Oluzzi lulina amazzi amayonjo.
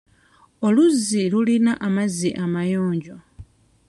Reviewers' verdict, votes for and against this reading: accepted, 2, 0